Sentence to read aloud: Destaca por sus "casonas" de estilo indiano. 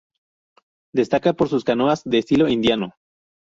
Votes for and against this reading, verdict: 0, 2, rejected